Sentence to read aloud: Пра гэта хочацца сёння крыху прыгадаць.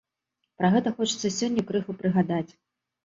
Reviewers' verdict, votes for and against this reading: rejected, 0, 2